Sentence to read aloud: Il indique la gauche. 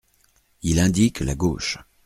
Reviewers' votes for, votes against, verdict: 2, 0, accepted